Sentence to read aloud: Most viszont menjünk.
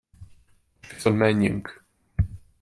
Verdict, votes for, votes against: rejected, 0, 2